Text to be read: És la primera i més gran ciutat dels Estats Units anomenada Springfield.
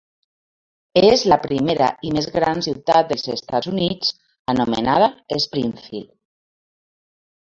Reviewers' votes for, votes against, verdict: 1, 2, rejected